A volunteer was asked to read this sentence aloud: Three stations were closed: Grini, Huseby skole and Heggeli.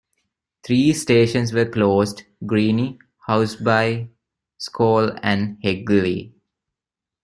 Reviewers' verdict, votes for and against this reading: rejected, 1, 2